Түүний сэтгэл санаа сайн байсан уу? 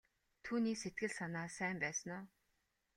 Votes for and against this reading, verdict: 2, 0, accepted